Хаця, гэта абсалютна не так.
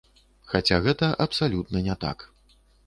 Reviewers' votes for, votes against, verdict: 2, 0, accepted